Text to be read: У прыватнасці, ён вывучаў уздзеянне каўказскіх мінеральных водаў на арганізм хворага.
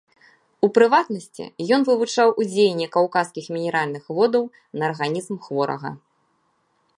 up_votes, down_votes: 1, 2